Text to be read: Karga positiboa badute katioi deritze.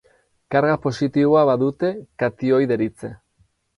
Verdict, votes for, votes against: accepted, 4, 0